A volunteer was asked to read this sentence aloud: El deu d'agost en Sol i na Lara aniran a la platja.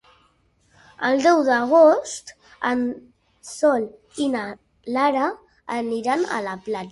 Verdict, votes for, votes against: rejected, 0, 2